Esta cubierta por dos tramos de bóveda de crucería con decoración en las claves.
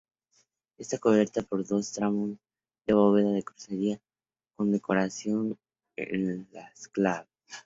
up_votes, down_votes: 0, 2